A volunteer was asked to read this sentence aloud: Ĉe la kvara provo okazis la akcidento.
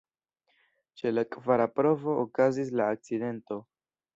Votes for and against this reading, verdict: 2, 1, accepted